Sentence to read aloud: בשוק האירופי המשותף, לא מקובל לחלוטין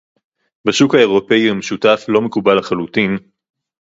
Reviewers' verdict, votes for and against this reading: accepted, 4, 0